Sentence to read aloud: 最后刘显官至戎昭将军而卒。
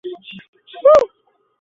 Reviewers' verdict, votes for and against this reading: rejected, 1, 4